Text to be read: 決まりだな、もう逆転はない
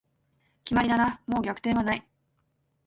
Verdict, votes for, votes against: accepted, 2, 0